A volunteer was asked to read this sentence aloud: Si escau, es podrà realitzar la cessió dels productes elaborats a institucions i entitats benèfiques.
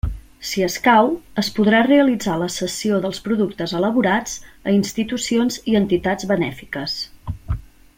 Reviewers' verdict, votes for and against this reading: accepted, 2, 0